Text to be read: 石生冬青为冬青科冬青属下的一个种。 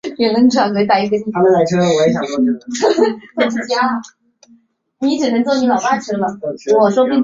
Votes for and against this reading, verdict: 0, 2, rejected